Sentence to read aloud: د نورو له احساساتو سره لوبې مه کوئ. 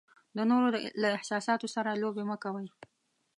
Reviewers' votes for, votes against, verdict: 2, 0, accepted